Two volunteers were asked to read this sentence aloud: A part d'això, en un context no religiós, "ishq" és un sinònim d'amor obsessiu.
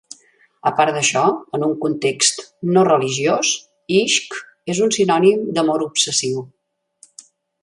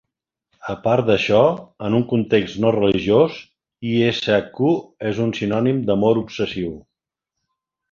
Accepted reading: first